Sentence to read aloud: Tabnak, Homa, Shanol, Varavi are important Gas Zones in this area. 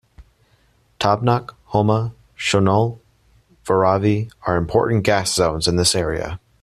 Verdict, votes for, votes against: accepted, 2, 0